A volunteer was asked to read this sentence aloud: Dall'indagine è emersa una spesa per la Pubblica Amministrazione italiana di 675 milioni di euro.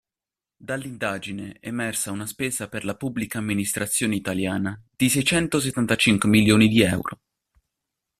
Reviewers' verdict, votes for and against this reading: rejected, 0, 2